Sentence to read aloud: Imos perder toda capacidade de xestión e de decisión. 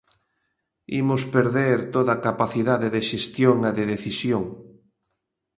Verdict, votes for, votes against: accepted, 2, 0